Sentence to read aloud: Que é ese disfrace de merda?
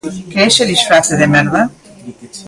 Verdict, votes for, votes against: accepted, 2, 0